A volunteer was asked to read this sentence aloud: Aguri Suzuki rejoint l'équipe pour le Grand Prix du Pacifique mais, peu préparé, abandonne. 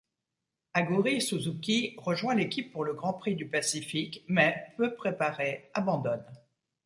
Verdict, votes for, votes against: accepted, 2, 0